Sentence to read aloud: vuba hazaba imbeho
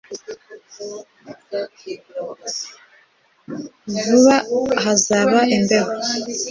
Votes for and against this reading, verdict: 2, 0, accepted